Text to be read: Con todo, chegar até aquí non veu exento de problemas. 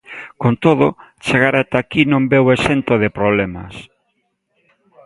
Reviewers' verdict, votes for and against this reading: accepted, 2, 0